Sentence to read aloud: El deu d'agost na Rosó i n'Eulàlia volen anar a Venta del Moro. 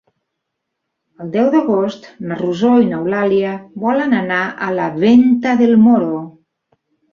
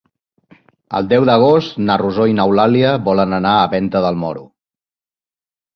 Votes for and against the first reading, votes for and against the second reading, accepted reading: 1, 3, 2, 0, second